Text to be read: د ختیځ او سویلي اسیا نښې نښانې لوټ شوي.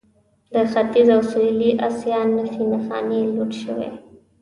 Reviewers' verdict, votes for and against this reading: rejected, 0, 2